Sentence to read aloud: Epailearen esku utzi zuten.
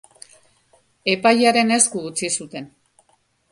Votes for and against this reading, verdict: 2, 0, accepted